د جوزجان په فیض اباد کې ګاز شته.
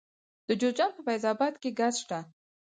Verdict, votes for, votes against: accepted, 4, 0